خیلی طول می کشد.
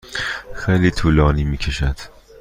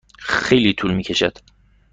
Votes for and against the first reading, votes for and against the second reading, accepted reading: 1, 2, 2, 0, second